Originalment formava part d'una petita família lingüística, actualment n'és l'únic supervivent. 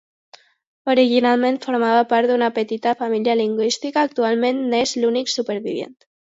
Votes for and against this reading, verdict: 0, 2, rejected